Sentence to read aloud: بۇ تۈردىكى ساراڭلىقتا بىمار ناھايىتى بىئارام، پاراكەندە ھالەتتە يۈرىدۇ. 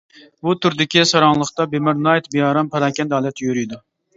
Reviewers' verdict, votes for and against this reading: rejected, 0, 2